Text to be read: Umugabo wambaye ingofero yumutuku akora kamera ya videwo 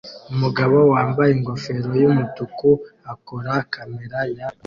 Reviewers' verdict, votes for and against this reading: rejected, 0, 2